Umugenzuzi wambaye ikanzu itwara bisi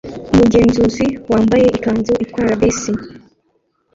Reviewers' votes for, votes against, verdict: 1, 2, rejected